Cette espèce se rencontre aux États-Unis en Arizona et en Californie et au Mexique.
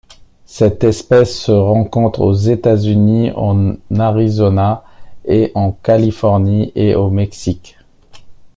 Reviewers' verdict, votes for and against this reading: rejected, 1, 2